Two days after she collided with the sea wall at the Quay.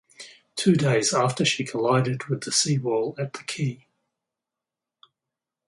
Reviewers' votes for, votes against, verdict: 0, 2, rejected